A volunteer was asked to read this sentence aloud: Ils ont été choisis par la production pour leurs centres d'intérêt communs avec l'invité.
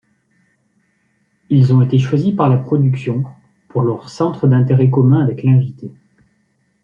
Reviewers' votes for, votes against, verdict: 2, 0, accepted